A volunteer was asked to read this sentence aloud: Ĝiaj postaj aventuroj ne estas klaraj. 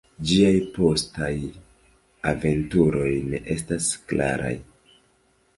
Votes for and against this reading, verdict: 2, 0, accepted